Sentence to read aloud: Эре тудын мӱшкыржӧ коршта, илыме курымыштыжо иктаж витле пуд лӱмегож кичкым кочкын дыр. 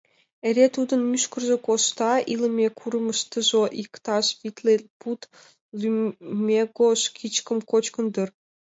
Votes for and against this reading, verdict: 1, 3, rejected